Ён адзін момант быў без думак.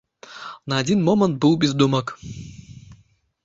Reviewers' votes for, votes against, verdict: 0, 2, rejected